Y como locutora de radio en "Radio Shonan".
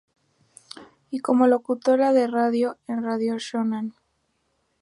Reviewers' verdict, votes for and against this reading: accepted, 4, 0